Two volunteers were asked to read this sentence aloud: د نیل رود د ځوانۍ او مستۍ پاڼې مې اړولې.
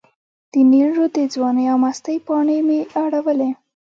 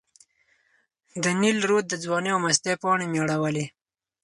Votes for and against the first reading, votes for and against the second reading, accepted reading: 0, 2, 4, 0, second